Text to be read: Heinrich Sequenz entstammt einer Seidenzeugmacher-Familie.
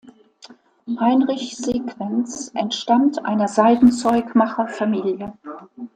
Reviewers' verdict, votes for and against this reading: accepted, 2, 0